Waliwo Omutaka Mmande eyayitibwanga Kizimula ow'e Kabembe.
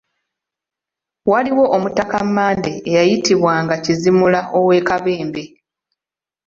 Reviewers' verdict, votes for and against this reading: accepted, 2, 0